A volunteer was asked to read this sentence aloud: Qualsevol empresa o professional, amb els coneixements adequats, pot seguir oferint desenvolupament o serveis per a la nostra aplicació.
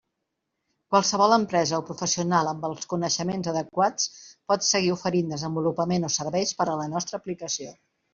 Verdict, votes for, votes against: accepted, 2, 1